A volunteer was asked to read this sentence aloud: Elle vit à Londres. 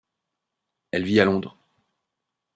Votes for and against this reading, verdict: 3, 0, accepted